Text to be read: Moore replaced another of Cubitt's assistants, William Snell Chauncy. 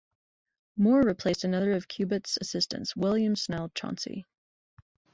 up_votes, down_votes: 2, 0